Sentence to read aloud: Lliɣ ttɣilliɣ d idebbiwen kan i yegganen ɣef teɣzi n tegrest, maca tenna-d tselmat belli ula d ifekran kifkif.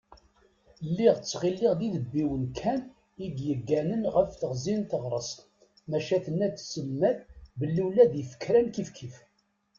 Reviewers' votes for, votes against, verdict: 1, 2, rejected